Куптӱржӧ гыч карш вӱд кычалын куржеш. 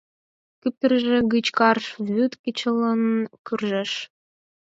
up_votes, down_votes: 2, 4